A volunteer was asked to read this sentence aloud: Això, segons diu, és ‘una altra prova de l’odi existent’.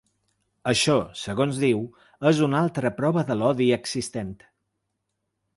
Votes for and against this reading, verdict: 3, 0, accepted